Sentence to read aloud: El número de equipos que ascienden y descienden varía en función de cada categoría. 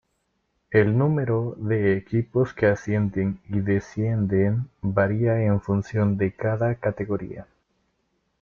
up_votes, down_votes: 2, 1